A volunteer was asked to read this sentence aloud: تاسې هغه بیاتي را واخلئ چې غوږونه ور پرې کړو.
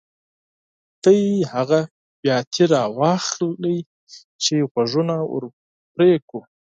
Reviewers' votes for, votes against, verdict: 2, 4, rejected